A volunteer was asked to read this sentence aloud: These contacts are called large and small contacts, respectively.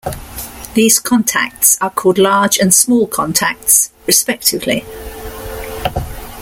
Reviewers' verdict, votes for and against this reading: accepted, 2, 0